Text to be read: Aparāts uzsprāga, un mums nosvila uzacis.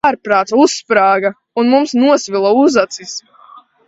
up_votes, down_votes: 0, 2